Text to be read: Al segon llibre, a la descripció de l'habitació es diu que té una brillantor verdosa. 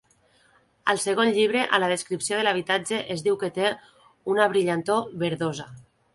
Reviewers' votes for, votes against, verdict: 0, 2, rejected